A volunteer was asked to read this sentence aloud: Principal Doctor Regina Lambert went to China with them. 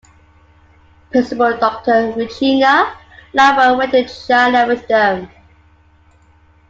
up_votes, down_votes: 0, 2